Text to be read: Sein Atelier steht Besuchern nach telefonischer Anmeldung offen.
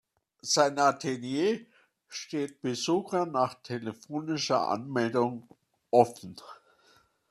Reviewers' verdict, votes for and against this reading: accepted, 2, 1